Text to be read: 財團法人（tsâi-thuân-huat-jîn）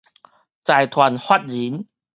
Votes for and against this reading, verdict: 4, 0, accepted